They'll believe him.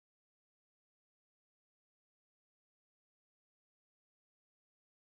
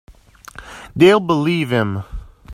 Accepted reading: second